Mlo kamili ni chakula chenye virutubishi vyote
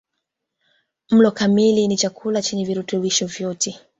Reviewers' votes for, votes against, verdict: 2, 0, accepted